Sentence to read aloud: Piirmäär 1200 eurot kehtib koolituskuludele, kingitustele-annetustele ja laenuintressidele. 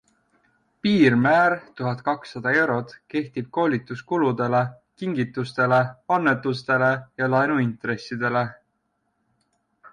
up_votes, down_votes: 0, 2